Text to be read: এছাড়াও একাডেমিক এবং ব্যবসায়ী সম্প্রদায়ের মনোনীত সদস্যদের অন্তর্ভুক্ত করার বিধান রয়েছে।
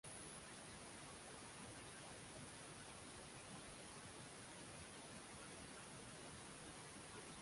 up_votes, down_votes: 0, 2